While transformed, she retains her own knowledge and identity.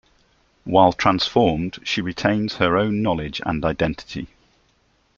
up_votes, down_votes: 2, 0